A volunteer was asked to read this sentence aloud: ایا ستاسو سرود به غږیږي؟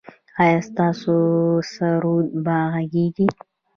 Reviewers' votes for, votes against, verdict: 2, 1, accepted